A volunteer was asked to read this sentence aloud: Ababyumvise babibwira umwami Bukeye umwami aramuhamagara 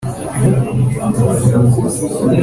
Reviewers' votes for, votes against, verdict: 0, 3, rejected